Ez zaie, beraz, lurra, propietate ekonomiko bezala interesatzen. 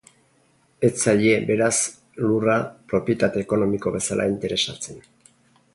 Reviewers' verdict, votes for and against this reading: rejected, 0, 2